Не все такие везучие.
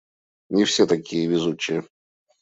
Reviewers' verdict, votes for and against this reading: accepted, 2, 0